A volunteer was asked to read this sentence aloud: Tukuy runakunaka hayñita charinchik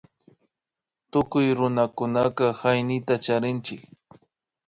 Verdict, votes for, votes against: accepted, 2, 0